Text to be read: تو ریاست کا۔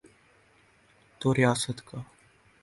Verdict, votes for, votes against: rejected, 0, 2